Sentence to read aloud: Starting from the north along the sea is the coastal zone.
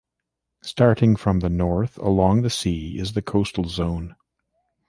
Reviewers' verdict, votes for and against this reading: accepted, 2, 0